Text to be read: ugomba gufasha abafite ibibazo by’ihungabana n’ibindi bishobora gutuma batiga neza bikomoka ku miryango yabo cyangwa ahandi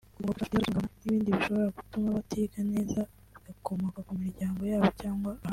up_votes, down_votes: 0, 3